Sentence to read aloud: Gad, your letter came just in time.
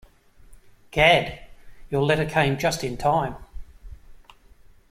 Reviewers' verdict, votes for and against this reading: accepted, 2, 0